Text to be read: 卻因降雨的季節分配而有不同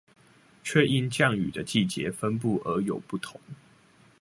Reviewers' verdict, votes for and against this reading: rejected, 0, 2